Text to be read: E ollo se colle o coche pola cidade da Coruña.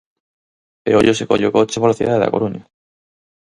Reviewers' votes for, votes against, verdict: 4, 0, accepted